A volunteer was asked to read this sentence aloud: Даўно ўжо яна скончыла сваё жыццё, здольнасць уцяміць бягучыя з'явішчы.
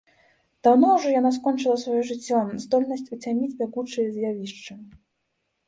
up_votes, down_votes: 3, 0